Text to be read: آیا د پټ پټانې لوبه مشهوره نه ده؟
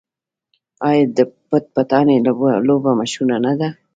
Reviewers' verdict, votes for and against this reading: rejected, 1, 2